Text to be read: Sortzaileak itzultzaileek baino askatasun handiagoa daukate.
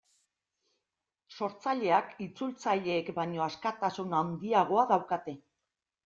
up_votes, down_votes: 2, 0